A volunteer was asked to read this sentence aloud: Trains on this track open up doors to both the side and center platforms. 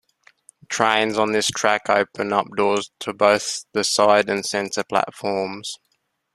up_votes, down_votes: 2, 0